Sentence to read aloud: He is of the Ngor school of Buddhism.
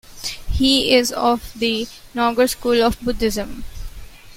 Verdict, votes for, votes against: rejected, 0, 2